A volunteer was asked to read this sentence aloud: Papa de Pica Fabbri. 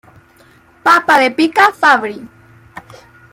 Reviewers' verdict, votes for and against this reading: accepted, 2, 0